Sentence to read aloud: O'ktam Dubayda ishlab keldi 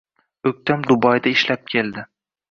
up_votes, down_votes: 2, 0